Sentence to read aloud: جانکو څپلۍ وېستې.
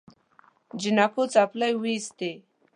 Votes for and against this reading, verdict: 1, 2, rejected